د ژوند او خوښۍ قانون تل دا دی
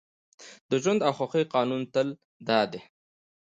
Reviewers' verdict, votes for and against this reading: accepted, 2, 1